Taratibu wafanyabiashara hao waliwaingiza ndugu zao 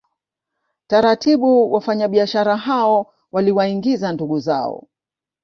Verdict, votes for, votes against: accepted, 2, 0